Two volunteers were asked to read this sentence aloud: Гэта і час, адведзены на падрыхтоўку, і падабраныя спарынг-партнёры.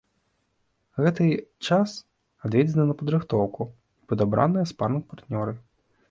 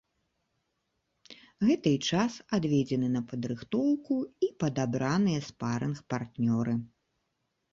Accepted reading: second